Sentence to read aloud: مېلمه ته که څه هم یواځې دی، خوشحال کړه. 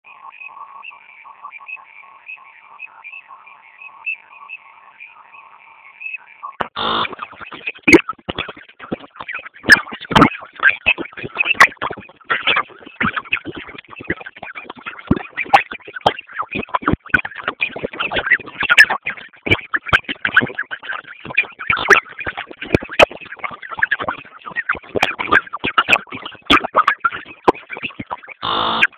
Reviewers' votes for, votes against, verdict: 0, 2, rejected